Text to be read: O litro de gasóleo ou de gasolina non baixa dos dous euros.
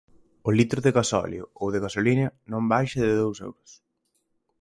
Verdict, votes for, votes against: rejected, 0, 4